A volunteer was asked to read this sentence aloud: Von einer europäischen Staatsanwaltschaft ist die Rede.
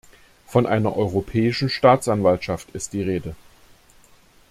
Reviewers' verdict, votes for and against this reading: accepted, 2, 0